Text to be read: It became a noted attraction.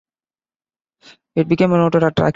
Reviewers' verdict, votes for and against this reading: rejected, 0, 2